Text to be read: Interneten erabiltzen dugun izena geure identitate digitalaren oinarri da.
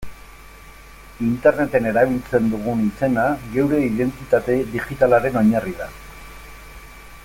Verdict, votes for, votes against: accepted, 2, 0